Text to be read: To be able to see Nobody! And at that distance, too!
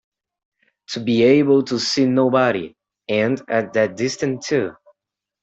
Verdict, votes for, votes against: rejected, 0, 2